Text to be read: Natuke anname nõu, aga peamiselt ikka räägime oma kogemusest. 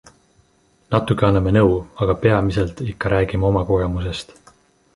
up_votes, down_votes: 2, 1